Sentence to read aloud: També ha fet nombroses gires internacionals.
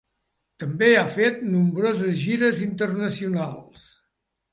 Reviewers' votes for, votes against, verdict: 2, 0, accepted